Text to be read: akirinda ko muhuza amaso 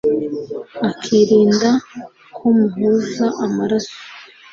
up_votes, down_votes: 1, 2